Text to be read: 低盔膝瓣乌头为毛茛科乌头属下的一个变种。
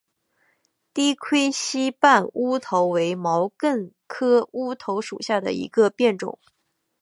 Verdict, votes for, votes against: accepted, 2, 0